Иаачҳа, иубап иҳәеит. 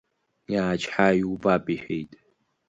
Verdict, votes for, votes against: accepted, 2, 0